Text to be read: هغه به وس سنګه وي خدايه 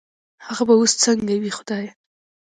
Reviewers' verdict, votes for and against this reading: accepted, 2, 1